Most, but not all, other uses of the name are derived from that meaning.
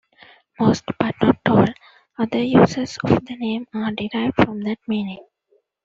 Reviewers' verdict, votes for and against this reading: rejected, 1, 2